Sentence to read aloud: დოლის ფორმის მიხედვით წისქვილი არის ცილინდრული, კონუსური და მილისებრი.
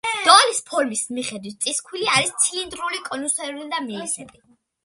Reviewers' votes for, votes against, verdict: 2, 1, accepted